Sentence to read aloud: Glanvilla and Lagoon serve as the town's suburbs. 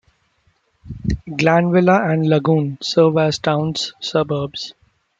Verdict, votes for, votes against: rejected, 1, 2